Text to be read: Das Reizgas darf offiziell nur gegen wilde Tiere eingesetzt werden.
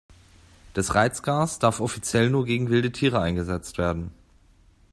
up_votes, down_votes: 1, 2